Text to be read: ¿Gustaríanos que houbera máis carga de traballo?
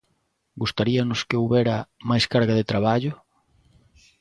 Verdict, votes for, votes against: accepted, 2, 0